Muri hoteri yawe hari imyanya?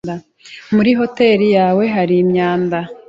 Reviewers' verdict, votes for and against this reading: rejected, 0, 2